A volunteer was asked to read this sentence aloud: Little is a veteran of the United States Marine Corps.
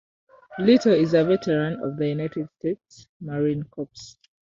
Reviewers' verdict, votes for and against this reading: rejected, 1, 2